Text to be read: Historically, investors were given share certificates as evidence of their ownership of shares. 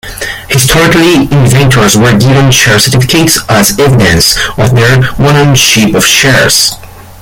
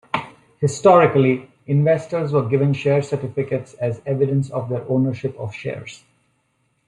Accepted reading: second